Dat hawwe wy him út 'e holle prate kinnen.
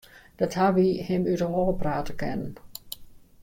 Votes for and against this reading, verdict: 2, 0, accepted